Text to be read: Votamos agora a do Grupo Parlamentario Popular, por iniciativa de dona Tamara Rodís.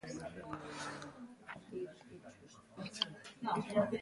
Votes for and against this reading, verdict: 1, 2, rejected